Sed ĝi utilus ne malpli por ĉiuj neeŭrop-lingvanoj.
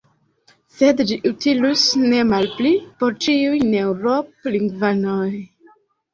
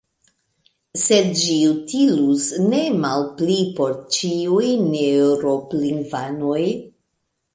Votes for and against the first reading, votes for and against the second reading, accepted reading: 1, 2, 2, 0, second